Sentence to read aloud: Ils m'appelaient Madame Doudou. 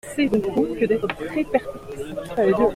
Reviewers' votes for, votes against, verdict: 0, 2, rejected